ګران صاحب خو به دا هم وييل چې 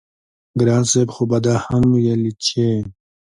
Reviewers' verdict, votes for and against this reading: accepted, 2, 0